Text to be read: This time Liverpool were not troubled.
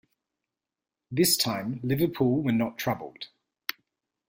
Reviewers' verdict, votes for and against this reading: accepted, 2, 0